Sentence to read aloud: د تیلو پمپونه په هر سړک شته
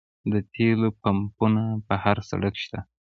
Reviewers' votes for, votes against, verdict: 2, 1, accepted